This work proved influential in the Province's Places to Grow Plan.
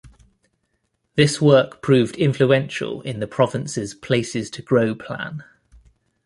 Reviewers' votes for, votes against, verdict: 2, 0, accepted